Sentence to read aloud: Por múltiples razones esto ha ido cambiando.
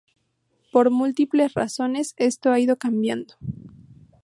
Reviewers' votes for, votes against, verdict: 2, 0, accepted